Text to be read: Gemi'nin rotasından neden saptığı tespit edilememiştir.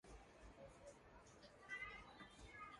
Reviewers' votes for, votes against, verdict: 0, 2, rejected